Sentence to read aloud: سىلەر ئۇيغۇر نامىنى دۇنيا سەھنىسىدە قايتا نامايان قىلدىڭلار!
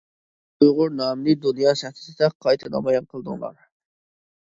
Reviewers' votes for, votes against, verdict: 0, 2, rejected